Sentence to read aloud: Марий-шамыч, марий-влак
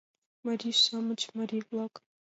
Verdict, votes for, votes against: accepted, 2, 0